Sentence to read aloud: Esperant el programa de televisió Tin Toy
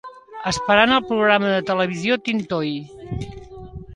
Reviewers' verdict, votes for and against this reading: accepted, 2, 1